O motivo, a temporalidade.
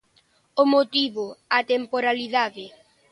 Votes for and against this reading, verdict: 2, 0, accepted